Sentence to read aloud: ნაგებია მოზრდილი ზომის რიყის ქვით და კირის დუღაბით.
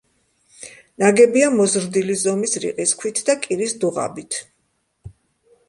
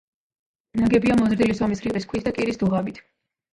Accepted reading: first